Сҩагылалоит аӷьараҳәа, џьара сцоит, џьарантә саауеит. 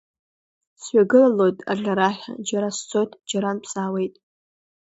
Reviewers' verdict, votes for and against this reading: accepted, 2, 0